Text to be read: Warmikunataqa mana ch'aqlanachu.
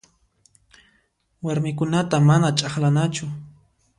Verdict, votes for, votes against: rejected, 0, 2